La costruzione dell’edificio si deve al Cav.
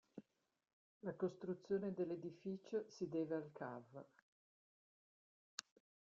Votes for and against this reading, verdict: 0, 2, rejected